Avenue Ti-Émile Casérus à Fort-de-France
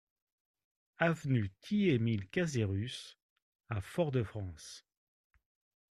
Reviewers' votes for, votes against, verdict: 2, 0, accepted